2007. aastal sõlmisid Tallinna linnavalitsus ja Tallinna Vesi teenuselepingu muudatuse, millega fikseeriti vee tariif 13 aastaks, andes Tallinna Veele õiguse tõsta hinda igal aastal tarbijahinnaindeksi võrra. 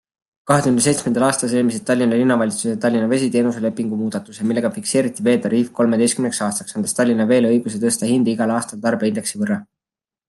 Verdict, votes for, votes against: rejected, 0, 2